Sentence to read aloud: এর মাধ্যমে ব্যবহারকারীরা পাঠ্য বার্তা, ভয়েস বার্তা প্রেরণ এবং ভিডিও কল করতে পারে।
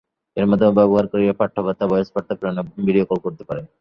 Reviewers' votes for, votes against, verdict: 0, 2, rejected